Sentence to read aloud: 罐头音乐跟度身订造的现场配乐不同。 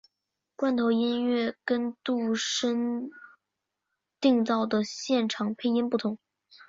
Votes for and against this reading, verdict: 0, 3, rejected